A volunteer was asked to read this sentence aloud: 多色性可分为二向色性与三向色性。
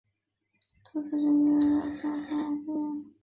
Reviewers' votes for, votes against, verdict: 0, 3, rejected